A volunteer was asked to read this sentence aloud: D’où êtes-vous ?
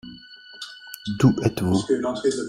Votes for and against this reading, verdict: 0, 2, rejected